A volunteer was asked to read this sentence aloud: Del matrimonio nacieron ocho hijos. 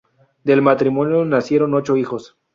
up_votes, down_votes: 0, 2